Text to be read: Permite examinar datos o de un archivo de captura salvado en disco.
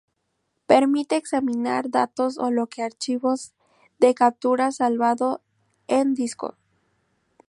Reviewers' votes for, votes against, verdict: 0, 2, rejected